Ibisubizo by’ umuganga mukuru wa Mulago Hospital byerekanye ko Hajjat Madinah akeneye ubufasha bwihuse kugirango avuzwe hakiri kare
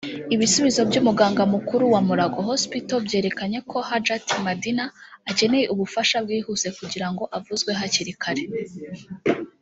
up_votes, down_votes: 2, 0